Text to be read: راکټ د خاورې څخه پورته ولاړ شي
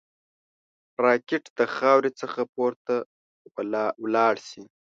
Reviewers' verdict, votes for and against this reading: rejected, 1, 2